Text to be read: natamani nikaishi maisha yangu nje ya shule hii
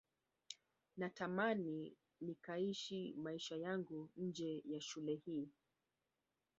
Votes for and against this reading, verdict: 2, 0, accepted